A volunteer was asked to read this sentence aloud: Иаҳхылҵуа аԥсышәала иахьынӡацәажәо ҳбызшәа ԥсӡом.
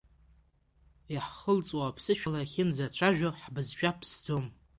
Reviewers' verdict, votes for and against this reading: accepted, 2, 0